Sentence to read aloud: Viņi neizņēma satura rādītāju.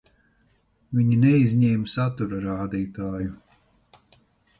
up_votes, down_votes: 4, 0